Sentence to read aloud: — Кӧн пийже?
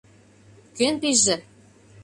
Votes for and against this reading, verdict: 2, 0, accepted